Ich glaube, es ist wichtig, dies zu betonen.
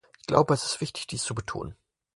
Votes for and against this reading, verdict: 4, 0, accepted